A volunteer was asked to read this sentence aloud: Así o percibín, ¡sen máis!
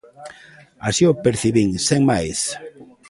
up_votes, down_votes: 0, 2